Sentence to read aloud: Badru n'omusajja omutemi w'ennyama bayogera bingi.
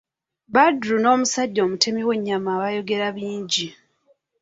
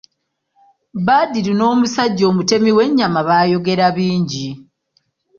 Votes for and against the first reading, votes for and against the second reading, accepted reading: 2, 1, 0, 2, first